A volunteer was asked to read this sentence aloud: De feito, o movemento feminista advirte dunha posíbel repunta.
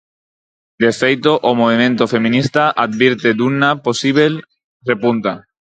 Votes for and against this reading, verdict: 2, 4, rejected